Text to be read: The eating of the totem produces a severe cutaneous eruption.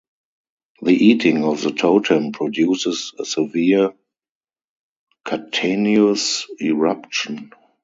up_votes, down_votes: 0, 2